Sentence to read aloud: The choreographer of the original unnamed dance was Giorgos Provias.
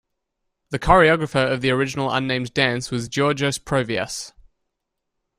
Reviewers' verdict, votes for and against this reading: accepted, 2, 0